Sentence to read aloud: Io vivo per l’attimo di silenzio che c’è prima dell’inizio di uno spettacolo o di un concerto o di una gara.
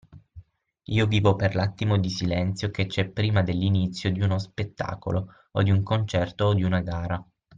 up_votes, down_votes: 6, 0